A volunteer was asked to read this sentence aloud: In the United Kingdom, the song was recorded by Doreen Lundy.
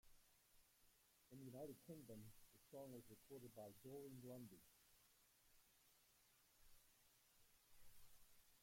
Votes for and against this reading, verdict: 0, 2, rejected